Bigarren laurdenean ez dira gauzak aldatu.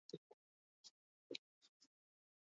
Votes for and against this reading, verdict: 0, 4, rejected